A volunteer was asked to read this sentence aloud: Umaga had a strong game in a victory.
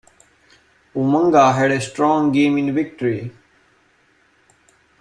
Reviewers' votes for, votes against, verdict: 2, 1, accepted